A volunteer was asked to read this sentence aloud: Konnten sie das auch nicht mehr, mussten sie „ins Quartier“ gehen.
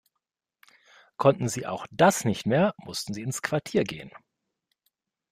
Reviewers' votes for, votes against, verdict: 1, 2, rejected